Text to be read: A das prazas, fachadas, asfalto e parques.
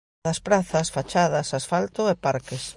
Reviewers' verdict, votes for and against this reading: rejected, 1, 2